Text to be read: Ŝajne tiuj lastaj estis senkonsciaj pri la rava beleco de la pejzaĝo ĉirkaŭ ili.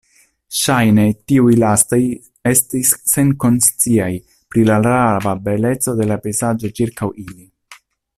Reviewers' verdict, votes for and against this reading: rejected, 0, 2